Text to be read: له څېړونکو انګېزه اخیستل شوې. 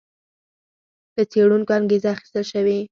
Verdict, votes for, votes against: accepted, 4, 0